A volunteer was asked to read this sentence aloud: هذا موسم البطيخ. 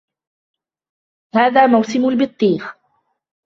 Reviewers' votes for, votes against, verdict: 2, 0, accepted